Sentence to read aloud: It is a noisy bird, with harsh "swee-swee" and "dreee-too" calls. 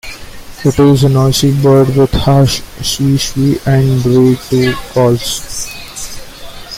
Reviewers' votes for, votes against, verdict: 2, 1, accepted